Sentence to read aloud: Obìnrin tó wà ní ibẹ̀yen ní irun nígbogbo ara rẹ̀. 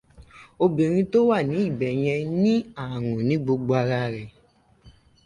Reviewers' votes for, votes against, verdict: 0, 2, rejected